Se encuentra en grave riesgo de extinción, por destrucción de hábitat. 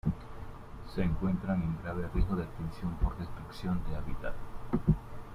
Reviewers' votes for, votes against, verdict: 1, 2, rejected